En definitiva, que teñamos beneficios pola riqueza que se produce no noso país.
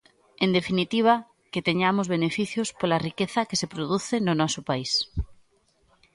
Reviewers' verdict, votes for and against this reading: accepted, 2, 0